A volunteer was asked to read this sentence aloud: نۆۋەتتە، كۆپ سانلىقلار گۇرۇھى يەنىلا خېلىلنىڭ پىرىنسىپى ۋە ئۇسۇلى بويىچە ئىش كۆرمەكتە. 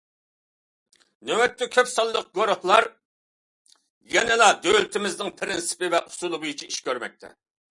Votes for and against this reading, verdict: 0, 2, rejected